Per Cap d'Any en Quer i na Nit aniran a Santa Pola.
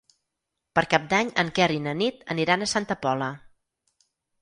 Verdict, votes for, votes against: accepted, 4, 0